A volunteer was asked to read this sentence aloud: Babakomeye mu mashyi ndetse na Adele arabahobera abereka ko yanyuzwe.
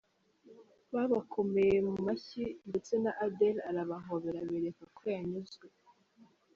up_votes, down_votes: 1, 3